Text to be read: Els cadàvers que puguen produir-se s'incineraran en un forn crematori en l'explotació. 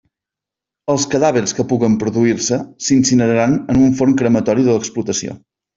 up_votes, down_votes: 1, 2